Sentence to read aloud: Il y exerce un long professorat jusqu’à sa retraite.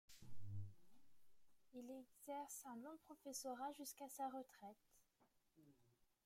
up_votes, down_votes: 2, 1